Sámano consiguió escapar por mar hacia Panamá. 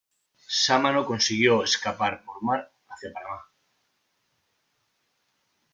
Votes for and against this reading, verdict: 2, 0, accepted